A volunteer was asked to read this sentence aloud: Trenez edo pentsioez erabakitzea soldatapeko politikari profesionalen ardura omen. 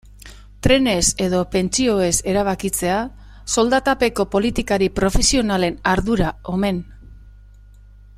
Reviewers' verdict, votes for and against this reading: accepted, 2, 1